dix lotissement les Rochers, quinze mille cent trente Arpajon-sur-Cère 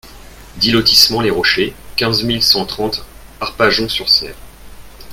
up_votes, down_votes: 2, 0